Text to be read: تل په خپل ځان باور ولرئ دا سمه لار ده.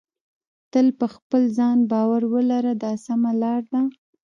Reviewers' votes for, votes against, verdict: 1, 2, rejected